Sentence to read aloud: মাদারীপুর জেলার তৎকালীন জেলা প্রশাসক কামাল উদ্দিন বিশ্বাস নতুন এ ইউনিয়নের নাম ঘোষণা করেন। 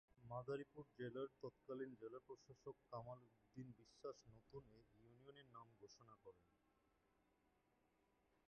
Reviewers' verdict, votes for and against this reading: rejected, 1, 4